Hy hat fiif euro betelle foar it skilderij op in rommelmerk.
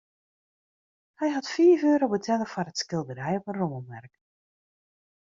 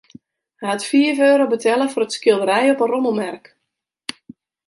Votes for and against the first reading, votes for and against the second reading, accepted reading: 2, 1, 0, 2, first